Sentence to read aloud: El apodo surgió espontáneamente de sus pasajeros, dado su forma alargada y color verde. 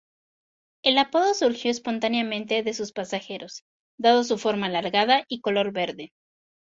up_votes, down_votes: 4, 0